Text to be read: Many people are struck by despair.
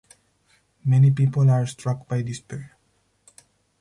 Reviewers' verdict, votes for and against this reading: accepted, 4, 0